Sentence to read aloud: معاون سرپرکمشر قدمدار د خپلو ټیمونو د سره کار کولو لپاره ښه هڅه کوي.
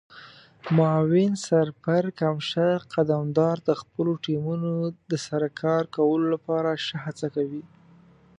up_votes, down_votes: 2, 1